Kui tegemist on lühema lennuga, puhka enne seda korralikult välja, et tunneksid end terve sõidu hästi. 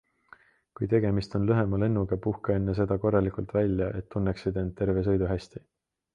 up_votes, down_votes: 2, 0